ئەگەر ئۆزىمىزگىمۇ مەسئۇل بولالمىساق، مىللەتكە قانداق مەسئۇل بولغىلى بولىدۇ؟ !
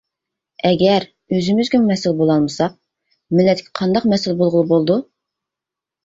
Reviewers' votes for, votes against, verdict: 0, 2, rejected